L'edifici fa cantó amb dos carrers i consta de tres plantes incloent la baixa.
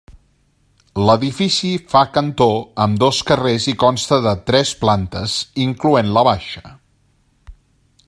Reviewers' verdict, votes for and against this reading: accepted, 3, 0